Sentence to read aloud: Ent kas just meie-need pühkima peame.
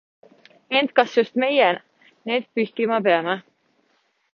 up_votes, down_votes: 2, 0